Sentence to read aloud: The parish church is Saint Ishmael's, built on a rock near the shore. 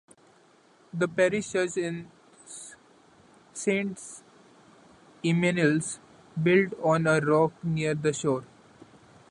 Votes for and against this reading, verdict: 1, 2, rejected